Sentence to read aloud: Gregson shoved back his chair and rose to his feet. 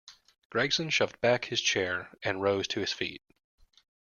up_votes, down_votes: 2, 0